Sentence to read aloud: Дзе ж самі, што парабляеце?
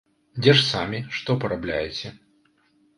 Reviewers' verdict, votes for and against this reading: accepted, 2, 0